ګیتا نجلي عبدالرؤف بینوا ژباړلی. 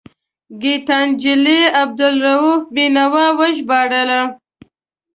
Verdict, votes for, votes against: rejected, 0, 2